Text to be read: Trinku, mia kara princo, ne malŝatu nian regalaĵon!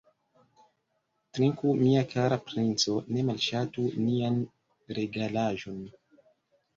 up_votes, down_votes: 1, 2